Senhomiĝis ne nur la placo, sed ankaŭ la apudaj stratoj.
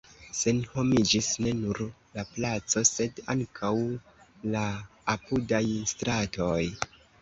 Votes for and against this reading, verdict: 2, 1, accepted